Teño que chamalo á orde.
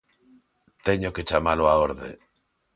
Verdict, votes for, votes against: accepted, 2, 0